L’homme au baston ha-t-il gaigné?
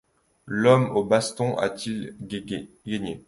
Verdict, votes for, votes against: rejected, 0, 2